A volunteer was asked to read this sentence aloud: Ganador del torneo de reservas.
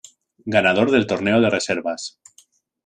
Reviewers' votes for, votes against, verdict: 2, 0, accepted